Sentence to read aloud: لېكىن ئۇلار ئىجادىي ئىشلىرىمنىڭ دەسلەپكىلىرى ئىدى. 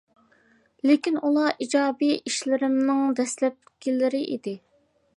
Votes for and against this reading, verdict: 2, 0, accepted